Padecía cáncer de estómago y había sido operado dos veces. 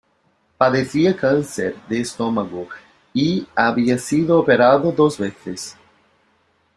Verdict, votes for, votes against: accepted, 2, 0